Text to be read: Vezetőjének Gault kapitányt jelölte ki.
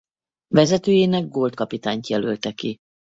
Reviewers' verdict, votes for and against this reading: accepted, 4, 0